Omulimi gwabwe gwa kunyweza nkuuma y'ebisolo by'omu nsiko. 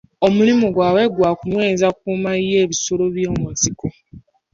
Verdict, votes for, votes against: accepted, 2, 1